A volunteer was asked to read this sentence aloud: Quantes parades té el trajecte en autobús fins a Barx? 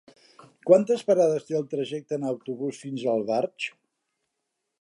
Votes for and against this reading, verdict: 1, 2, rejected